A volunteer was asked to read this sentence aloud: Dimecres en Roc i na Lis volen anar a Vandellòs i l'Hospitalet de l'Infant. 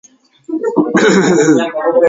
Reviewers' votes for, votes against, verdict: 0, 3, rejected